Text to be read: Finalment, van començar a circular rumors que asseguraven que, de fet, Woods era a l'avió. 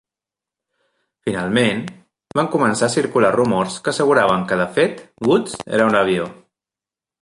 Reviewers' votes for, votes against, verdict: 1, 2, rejected